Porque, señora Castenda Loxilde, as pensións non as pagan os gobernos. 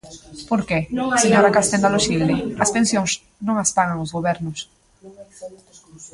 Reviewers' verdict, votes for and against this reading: rejected, 0, 2